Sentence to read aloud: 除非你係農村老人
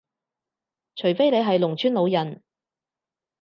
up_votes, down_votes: 4, 0